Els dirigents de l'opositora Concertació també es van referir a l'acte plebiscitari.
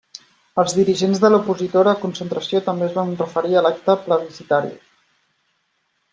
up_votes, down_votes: 2, 1